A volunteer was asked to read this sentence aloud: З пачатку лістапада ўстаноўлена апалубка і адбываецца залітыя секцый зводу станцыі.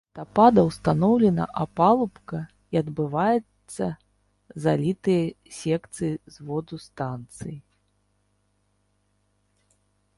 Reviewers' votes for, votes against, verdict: 1, 2, rejected